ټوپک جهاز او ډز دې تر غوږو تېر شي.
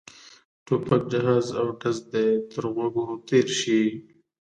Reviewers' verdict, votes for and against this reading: accepted, 2, 0